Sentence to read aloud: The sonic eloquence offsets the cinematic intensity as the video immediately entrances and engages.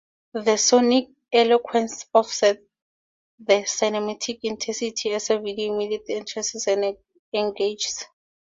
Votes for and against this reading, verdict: 0, 4, rejected